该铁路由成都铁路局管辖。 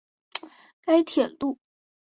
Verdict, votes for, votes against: rejected, 1, 2